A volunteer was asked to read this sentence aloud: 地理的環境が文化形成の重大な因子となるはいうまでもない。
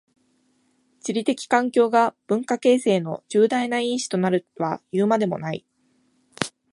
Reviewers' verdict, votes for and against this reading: accepted, 2, 0